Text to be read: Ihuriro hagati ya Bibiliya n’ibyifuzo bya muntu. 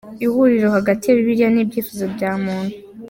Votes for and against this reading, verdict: 2, 0, accepted